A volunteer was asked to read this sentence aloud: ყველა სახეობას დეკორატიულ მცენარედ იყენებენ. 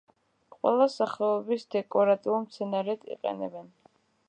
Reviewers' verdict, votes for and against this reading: rejected, 0, 2